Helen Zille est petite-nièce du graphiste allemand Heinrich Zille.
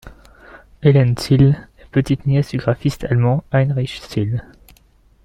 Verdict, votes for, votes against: rejected, 1, 2